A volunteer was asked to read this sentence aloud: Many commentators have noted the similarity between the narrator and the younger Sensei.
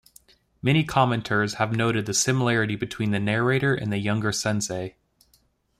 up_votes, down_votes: 2, 1